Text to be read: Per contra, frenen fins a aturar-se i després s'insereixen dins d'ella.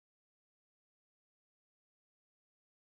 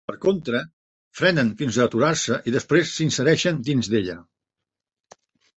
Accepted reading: second